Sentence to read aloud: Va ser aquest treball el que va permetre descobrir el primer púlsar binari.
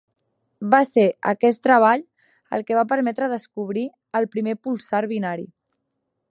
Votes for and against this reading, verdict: 1, 2, rejected